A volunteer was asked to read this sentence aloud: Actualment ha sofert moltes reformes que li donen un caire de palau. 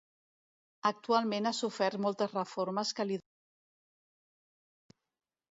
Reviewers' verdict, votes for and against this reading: rejected, 1, 2